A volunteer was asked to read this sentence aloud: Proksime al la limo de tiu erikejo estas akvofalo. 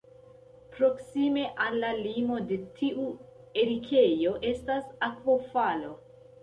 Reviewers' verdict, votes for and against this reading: rejected, 1, 2